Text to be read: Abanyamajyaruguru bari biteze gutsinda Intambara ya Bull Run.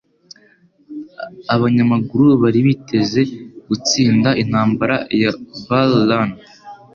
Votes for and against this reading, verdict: 2, 0, accepted